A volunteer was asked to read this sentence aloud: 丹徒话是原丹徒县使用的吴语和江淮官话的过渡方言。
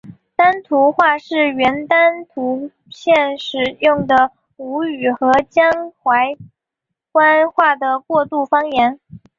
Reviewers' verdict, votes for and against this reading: accepted, 7, 0